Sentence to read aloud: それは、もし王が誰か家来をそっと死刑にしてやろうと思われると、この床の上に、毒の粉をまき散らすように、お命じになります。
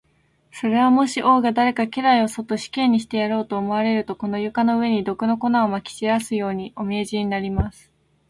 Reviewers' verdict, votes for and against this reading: accepted, 2, 1